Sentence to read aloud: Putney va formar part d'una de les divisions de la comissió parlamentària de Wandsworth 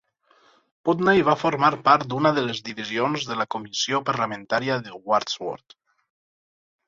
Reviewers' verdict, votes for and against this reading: accepted, 4, 0